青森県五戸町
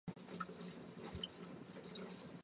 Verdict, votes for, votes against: rejected, 0, 2